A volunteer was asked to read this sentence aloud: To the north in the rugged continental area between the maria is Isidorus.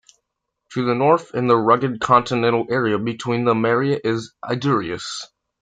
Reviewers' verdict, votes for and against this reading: accepted, 2, 1